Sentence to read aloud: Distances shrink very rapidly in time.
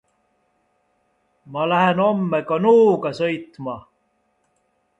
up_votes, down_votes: 0, 2